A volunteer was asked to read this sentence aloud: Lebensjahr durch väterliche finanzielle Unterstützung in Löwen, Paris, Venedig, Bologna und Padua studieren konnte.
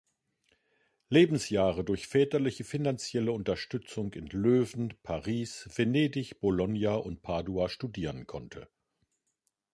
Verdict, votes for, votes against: rejected, 0, 2